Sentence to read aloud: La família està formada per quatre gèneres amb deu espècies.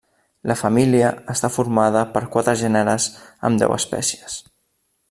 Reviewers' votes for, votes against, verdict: 3, 0, accepted